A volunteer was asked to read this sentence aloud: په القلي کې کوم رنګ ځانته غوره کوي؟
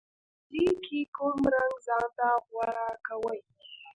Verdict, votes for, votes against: rejected, 1, 2